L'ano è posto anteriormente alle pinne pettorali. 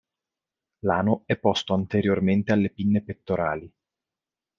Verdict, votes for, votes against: accepted, 2, 0